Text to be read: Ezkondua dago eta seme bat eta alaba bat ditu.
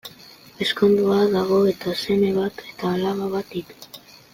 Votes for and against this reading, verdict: 2, 0, accepted